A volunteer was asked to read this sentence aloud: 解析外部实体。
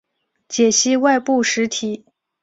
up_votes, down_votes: 2, 0